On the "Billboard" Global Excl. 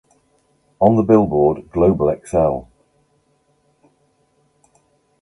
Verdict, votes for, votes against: accepted, 2, 0